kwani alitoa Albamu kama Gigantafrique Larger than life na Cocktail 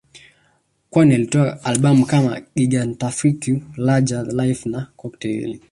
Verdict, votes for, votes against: rejected, 1, 2